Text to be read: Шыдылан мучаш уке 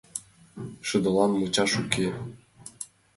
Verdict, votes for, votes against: accepted, 2, 0